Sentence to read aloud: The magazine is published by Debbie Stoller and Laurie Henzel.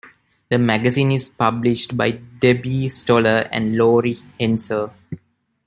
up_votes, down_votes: 2, 0